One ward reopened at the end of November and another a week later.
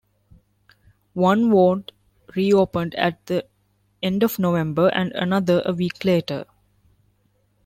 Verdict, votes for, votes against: accepted, 2, 0